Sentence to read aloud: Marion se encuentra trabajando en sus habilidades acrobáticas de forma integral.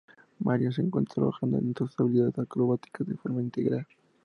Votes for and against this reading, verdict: 2, 0, accepted